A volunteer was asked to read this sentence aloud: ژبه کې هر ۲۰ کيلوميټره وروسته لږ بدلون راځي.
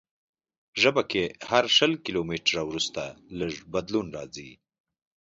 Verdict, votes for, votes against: rejected, 0, 2